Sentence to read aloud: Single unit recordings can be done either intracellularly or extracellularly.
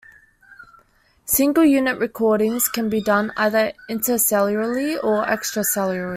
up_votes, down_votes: 1, 2